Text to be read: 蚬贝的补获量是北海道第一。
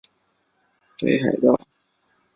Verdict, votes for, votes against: rejected, 1, 3